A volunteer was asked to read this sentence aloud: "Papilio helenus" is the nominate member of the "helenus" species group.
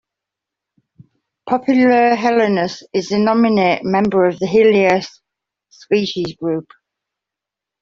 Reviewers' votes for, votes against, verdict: 2, 1, accepted